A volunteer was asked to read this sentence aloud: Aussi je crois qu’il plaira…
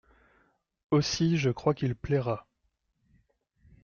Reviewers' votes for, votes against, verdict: 2, 0, accepted